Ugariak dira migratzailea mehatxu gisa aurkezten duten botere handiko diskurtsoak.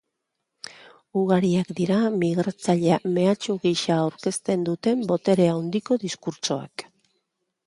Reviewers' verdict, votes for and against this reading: accepted, 3, 0